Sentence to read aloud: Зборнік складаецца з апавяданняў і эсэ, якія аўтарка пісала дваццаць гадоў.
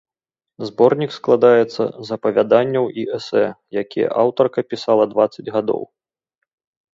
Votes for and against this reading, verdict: 2, 0, accepted